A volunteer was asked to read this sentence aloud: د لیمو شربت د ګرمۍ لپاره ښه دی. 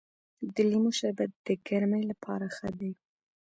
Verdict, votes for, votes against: accepted, 2, 1